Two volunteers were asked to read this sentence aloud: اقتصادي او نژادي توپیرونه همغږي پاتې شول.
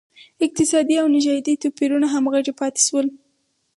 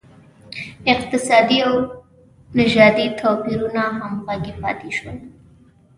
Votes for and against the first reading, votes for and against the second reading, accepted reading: 2, 0, 1, 2, first